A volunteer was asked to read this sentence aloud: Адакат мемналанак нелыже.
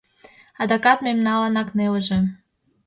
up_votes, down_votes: 2, 0